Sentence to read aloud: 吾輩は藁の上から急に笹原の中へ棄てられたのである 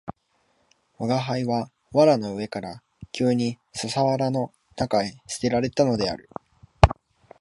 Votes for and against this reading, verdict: 2, 1, accepted